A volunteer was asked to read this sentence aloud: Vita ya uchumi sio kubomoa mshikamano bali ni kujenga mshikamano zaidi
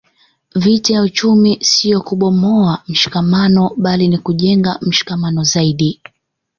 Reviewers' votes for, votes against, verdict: 2, 0, accepted